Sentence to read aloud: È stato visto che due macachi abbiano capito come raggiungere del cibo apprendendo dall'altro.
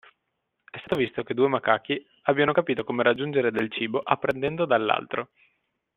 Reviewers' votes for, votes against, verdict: 2, 1, accepted